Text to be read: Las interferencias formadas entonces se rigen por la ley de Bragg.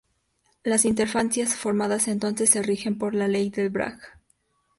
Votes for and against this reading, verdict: 4, 2, accepted